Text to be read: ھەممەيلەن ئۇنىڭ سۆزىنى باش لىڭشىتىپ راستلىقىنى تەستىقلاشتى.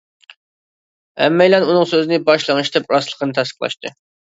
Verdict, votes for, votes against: accepted, 2, 0